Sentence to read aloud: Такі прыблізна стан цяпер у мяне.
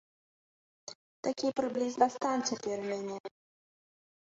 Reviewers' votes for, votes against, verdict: 1, 2, rejected